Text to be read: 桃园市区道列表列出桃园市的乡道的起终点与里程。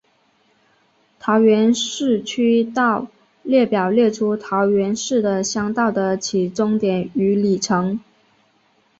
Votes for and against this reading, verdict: 2, 0, accepted